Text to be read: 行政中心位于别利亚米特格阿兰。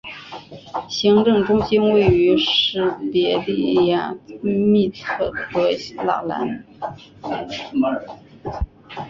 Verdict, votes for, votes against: rejected, 0, 3